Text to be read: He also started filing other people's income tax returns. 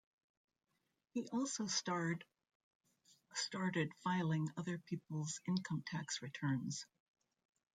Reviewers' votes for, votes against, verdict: 0, 2, rejected